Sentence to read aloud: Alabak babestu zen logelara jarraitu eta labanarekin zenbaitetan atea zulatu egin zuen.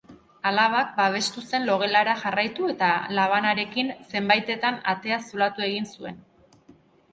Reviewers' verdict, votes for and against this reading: accepted, 2, 0